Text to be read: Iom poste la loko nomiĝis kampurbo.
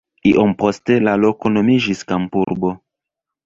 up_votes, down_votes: 1, 2